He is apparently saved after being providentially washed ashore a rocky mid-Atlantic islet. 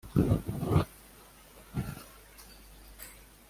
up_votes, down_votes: 0, 2